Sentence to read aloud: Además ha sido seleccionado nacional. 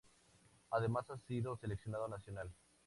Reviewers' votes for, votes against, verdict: 2, 0, accepted